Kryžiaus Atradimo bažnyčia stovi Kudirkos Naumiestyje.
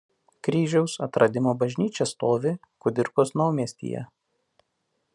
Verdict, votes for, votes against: accepted, 2, 1